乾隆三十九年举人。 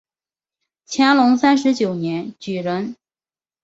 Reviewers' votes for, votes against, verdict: 2, 0, accepted